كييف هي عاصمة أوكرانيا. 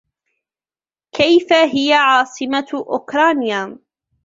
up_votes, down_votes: 0, 2